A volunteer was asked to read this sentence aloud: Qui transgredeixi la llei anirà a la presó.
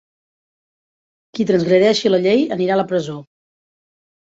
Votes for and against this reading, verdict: 2, 0, accepted